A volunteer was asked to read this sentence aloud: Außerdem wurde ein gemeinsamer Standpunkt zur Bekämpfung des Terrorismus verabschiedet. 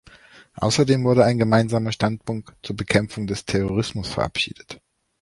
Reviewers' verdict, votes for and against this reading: accepted, 2, 1